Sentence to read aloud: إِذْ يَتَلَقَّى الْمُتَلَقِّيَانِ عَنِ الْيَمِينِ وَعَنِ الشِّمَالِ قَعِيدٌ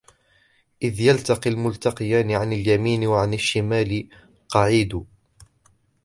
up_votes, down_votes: 0, 2